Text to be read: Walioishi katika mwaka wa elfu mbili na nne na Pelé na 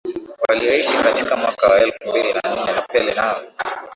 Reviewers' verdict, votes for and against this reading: accepted, 3, 0